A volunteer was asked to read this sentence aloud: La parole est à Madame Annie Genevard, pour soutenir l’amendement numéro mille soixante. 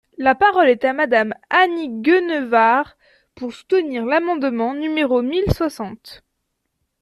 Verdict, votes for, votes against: rejected, 0, 2